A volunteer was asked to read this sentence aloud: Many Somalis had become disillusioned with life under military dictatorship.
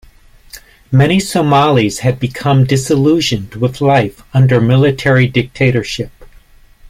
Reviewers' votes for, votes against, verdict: 2, 0, accepted